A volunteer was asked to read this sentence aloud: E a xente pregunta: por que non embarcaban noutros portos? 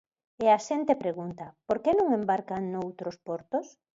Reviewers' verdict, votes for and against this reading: rejected, 0, 2